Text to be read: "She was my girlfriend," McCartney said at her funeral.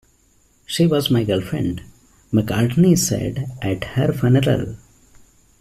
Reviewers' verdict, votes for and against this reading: rejected, 0, 2